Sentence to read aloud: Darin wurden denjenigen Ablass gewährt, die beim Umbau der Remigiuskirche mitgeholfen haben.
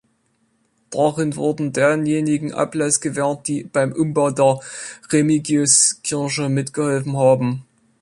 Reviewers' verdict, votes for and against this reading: accepted, 3, 0